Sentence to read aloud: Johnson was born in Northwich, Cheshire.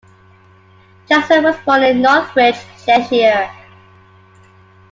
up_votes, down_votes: 2, 0